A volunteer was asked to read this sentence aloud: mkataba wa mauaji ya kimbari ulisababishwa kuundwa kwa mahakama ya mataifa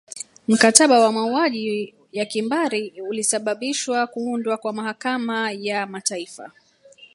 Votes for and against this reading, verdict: 1, 2, rejected